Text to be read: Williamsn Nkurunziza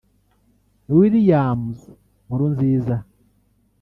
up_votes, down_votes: 0, 2